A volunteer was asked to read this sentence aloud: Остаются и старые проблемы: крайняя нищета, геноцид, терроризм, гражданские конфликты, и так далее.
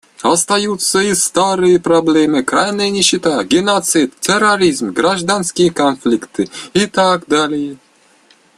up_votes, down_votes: 0, 2